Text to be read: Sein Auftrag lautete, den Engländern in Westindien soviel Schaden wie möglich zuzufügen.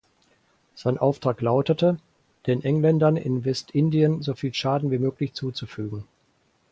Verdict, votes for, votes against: accepted, 4, 0